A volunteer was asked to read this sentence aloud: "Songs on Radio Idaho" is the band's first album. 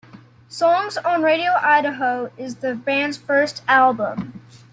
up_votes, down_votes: 2, 0